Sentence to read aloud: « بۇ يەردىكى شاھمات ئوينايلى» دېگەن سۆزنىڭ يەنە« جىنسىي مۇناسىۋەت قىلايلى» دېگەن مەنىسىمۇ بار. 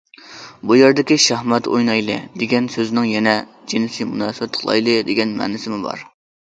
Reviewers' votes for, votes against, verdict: 2, 0, accepted